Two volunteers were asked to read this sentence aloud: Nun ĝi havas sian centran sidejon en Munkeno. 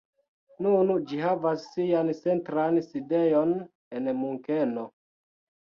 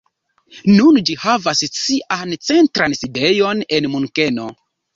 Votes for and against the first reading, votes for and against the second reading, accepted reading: 2, 1, 1, 2, first